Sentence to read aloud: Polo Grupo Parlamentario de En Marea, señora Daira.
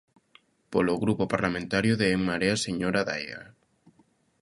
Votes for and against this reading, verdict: 2, 0, accepted